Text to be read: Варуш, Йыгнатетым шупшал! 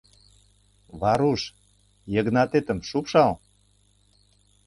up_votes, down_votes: 2, 0